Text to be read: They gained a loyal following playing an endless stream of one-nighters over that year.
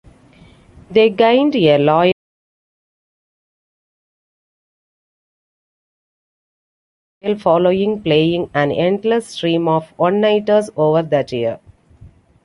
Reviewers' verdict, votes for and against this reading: rejected, 0, 2